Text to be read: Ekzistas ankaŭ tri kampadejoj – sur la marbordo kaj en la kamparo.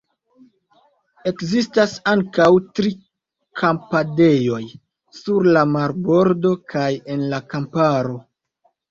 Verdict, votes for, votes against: accepted, 2, 0